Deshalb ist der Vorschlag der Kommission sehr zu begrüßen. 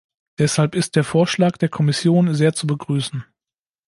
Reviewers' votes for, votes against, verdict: 2, 0, accepted